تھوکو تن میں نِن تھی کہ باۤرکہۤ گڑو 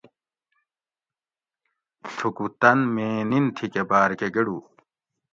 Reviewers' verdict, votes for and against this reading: accepted, 2, 0